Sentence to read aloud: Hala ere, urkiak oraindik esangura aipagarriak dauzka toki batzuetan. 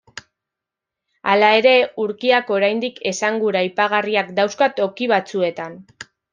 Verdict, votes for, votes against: accepted, 2, 0